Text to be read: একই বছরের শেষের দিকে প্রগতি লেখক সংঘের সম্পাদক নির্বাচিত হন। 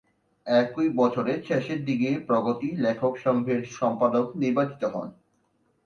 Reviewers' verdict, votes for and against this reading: accepted, 2, 1